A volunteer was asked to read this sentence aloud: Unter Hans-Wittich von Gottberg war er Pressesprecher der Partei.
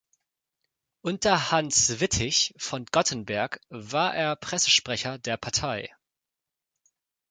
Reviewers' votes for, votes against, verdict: 1, 2, rejected